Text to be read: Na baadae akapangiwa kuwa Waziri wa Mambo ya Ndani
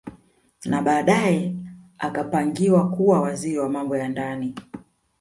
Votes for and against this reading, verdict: 2, 0, accepted